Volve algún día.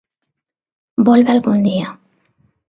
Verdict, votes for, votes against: accepted, 2, 0